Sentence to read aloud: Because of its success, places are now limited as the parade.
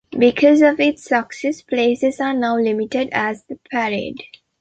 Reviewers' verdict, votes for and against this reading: rejected, 0, 2